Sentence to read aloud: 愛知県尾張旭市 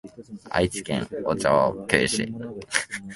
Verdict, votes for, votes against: rejected, 0, 2